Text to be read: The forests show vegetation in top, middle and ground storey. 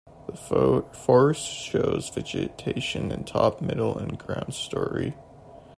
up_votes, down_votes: 0, 2